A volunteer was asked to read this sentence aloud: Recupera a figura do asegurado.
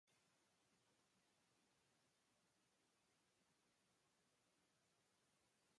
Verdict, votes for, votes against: rejected, 0, 2